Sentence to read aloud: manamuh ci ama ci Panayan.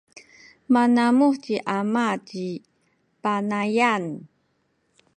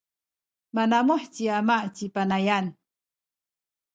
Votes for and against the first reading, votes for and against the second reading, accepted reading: 2, 0, 0, 2, first